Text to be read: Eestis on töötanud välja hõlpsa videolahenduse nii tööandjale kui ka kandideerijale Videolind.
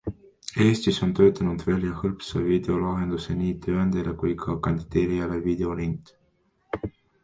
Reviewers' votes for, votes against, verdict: 2, 1, accepted